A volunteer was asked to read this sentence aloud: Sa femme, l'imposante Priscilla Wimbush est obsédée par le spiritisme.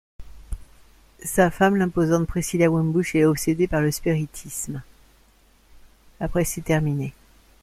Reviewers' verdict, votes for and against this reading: rejected, 0, 2